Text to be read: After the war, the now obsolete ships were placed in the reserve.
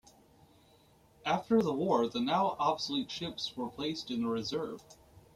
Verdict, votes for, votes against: accepted, 2, 0